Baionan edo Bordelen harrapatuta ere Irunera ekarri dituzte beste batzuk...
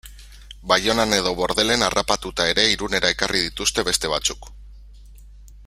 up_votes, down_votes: 3, 0